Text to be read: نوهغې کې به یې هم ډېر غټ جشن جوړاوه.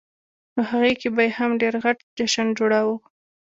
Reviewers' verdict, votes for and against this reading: accepted, 2, 0